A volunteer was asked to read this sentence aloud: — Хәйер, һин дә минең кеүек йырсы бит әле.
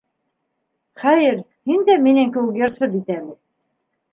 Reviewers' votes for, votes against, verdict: 2, 0, accepted